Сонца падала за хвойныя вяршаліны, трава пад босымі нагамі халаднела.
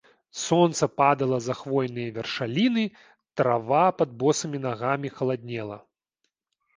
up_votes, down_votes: 2, 0